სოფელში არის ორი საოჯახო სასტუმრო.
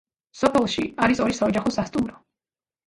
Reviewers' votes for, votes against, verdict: 2, 0, accepted